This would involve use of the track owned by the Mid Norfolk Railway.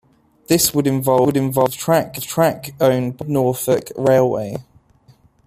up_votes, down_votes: 0, 2